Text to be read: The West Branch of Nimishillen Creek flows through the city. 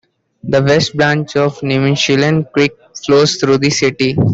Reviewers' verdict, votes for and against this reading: accepted, 2, 0